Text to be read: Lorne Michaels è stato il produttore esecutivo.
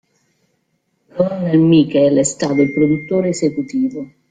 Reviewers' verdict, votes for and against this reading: rejected, 0, 2